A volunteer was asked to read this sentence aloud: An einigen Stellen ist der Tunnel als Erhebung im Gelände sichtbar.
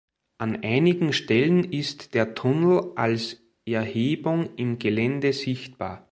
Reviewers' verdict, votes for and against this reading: accepted, 2, 0